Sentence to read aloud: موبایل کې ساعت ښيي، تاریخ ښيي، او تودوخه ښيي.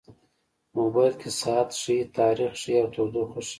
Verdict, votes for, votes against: accepted, 2, 1